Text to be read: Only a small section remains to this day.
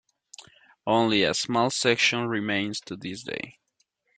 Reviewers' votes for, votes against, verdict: 2, 0, accepted